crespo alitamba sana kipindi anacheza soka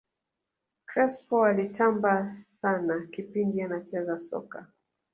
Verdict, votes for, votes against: rejected, 1, 2